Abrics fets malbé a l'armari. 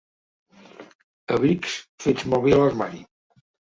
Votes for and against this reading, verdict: 0, 2, rejected